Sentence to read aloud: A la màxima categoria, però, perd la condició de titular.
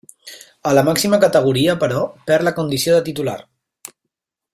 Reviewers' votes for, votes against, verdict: 3, 1, accepted